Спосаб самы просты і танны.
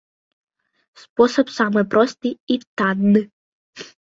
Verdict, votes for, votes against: accepted, 2, 0